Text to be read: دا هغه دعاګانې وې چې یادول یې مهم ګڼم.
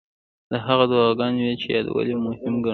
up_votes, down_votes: 0, 2